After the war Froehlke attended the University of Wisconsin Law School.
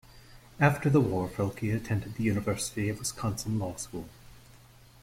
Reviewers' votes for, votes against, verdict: 2, 1, accepted